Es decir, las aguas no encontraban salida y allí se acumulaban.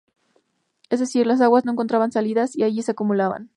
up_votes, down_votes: 0, 2